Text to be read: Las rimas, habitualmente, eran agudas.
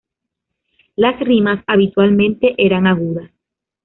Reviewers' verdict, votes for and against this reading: accepted, 2, 0